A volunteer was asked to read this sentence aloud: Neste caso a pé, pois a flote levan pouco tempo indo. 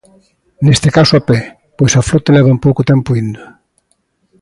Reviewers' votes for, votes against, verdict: 2, 0, accepted